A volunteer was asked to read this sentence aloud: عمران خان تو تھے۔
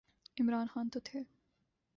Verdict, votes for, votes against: accepted, 2, 0